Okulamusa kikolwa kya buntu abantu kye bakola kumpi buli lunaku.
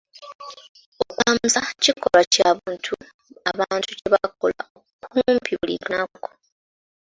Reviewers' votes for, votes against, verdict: 0, 2, rejected